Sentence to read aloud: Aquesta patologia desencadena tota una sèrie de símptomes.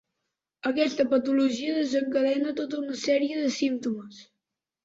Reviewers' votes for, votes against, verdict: 4, 0, accepted